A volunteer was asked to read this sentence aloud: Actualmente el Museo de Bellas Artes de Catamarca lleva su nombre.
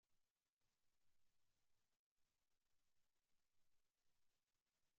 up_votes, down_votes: 0, 2